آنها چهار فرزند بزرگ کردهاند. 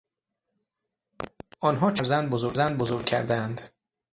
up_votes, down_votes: 0, 6